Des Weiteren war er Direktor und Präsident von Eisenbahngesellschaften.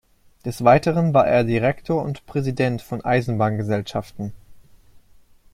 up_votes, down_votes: 2, 0